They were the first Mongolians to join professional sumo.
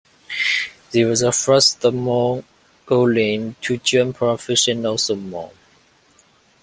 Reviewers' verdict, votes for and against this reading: rejected, 1, 2